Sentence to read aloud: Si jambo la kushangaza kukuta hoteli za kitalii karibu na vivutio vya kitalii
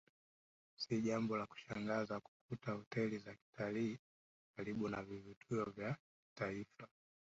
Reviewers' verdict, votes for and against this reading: rejected, 0, 2